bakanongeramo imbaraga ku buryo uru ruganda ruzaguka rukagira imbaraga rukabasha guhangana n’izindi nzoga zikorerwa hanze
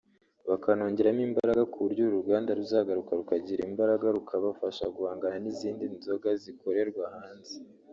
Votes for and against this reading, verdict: 0, 2, rejected